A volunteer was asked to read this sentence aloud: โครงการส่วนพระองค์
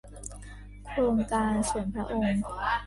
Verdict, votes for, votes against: rejected, 0, 2